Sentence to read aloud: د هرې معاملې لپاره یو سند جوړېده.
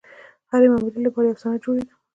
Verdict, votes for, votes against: accepted, 2, 0